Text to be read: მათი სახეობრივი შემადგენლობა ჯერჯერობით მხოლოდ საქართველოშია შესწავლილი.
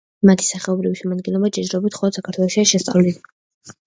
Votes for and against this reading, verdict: 0, 2, rejected